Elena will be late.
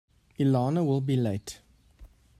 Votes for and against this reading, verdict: 2, 1, accepted